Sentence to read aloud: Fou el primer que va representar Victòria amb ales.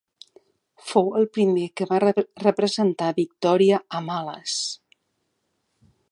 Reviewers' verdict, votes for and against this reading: rejected, 1, 2